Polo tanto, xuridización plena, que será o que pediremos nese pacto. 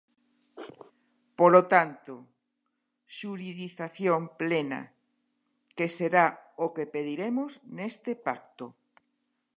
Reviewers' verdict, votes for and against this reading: rejected, 0, 2